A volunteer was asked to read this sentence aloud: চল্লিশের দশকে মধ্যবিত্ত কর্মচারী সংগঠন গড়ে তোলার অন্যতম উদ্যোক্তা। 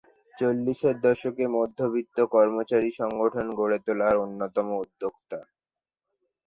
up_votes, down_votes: 2, 0